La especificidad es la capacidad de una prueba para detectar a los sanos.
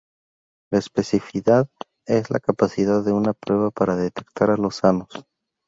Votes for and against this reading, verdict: 0, 2, rejected